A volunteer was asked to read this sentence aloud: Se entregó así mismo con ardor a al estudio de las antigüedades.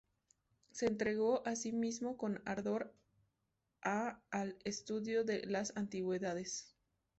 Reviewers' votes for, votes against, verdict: 4, 0, accepted